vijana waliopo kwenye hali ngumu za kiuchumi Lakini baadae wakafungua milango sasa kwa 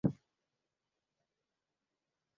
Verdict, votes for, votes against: rejected, 0, 2